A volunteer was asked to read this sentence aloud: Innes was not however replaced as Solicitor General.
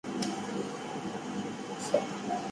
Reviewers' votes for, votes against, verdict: 0, 4, rejected